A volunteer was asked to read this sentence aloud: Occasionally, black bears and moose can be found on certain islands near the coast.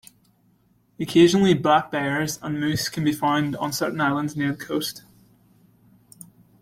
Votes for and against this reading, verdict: 0, 2, rejected